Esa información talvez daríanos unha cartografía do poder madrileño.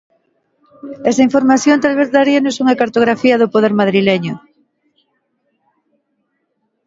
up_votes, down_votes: 2, 1